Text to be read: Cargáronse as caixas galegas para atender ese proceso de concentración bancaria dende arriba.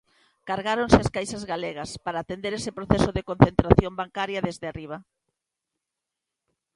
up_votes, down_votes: 0, 2